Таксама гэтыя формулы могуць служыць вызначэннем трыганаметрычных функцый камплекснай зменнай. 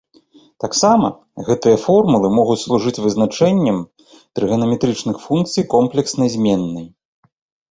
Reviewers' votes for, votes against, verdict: 0, 2, rejected